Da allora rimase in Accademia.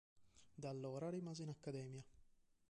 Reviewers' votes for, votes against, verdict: 3, 2, accepted